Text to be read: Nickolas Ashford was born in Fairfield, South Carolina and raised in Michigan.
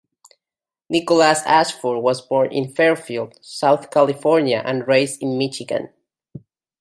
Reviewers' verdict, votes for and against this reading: rejected, 0, 2